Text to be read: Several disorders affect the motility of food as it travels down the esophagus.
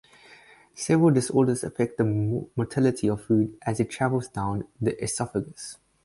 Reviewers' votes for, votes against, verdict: 2, 4, rejected